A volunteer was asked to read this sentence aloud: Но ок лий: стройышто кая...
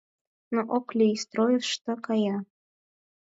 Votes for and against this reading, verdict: 4, 0, accepted